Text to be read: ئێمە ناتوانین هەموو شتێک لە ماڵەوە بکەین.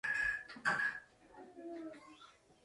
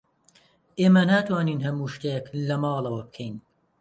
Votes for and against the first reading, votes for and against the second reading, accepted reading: 0, 2, 3, 0, second